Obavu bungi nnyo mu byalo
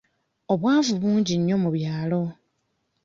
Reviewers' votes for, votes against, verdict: 0, 2, rejected